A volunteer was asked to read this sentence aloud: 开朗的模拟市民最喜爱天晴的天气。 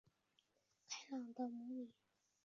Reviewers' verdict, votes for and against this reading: rejected, 1, 2